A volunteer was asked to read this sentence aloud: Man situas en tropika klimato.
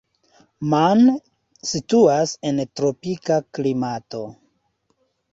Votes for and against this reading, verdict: 2, 0, accepted